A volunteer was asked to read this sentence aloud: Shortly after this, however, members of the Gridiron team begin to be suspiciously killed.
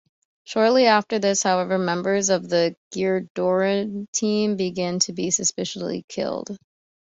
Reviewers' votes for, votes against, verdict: 2, 0, accepted